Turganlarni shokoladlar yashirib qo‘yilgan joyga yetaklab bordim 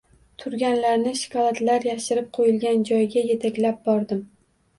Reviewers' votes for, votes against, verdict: 2, 0, accepted